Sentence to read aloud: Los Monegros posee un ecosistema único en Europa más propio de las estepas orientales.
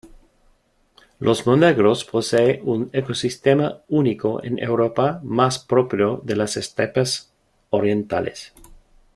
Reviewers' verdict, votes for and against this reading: rejected, 0, 2